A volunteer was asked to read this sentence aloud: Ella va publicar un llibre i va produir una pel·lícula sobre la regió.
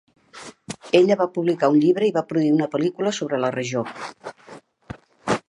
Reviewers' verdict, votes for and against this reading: accepted, 5, 0